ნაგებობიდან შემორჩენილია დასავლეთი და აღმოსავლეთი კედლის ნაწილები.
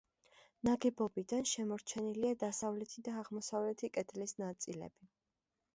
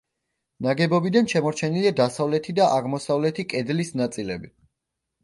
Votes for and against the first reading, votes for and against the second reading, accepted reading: 1, 2, 2, 0, second